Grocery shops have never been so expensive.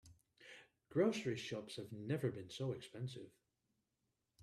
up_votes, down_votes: 2, 0